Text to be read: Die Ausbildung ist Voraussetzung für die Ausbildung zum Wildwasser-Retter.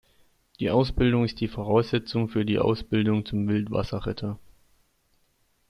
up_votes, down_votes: 1, 2